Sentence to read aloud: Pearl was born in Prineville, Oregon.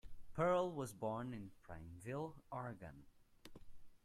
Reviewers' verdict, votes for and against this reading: accepted, 2, 1